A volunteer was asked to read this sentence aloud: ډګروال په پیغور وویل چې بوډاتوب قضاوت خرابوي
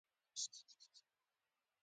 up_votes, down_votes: 2, 0